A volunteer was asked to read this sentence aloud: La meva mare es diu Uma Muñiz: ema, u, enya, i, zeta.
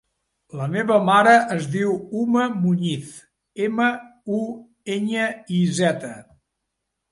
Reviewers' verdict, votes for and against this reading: accepted, 3, 1